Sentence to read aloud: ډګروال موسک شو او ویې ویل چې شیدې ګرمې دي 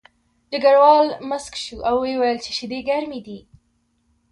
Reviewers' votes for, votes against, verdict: 2, 1, accepted